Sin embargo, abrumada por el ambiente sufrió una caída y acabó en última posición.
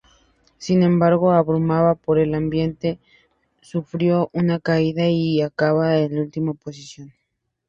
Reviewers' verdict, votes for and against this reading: rejected, 0, 2